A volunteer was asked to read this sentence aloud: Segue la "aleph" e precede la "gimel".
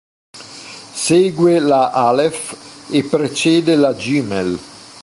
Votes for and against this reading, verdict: 2, 0, accepted